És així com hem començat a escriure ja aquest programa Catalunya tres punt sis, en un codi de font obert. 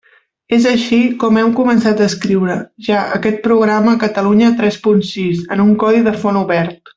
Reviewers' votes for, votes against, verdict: 2, 0, accepted